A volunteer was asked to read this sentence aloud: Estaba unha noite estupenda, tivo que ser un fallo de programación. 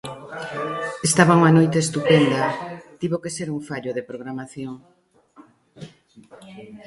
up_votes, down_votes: 2, 0